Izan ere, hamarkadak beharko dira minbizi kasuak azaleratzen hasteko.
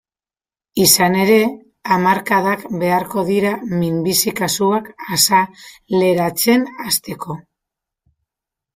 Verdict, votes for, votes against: rejected, 0, 2